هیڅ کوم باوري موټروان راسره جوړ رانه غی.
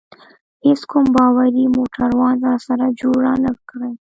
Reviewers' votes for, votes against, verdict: 1, 2, rejected